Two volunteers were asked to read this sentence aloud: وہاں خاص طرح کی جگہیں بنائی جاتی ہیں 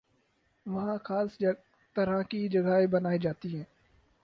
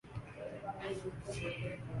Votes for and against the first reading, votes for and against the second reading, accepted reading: 4, 0, 0, 3, first